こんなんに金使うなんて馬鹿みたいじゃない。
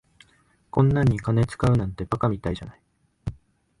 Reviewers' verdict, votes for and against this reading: accepted, 2, 1